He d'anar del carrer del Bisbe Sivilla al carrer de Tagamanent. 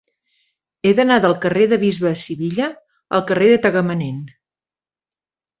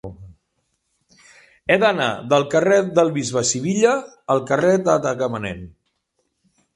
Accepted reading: second